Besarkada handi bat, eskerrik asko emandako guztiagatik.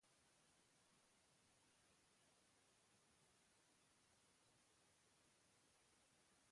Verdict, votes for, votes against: rejected, 0, 3